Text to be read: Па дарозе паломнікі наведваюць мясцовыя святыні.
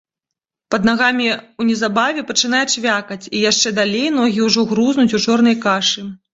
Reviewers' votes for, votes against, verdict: 0, 2, rejected